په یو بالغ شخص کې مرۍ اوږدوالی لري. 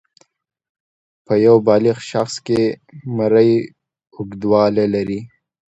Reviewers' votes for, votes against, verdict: 2, 0, accepted